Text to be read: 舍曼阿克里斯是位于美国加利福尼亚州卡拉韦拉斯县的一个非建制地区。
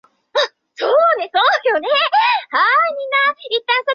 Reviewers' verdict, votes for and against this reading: rejected, 0, 8